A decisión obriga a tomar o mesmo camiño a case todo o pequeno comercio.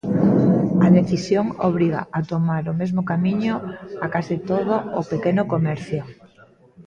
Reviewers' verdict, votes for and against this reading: rejected, 0, 3